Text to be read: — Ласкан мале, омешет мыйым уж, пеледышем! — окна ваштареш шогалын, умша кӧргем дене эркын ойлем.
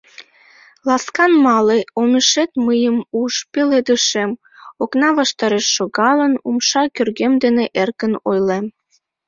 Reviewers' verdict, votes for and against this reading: rejected, 0, 2